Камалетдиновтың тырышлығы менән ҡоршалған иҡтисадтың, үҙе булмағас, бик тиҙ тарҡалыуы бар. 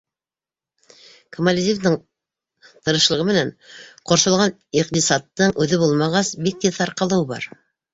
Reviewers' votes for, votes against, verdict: 0, 2, rejected